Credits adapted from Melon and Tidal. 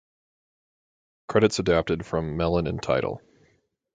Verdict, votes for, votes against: accepted, 6, 0